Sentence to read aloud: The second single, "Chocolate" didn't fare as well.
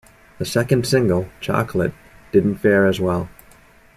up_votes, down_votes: 2, 0